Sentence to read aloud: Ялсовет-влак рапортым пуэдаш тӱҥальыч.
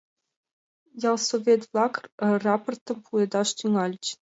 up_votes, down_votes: 2, 0